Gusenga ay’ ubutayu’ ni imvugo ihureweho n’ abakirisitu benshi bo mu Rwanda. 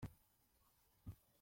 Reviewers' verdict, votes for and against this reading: rejected, 0, 2